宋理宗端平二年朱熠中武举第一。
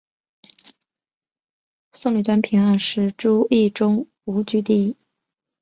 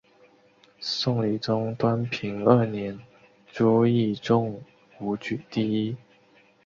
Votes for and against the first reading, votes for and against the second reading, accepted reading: 1, 2, 4, 1, second